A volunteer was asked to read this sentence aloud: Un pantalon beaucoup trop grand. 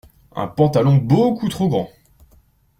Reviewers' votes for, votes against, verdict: 2, 0, accepted